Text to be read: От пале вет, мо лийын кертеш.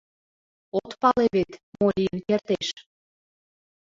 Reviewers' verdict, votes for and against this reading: accepted, 2, 1